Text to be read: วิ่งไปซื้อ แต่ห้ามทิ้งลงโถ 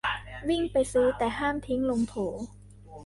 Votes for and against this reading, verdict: 2, 1, accepted